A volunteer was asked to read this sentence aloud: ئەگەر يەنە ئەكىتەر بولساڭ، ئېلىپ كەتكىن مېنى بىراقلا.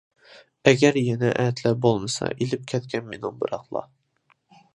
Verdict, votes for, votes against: rejected, 0, 2